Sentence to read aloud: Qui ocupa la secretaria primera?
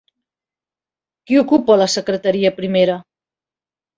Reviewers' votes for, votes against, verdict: 3, 0, accepted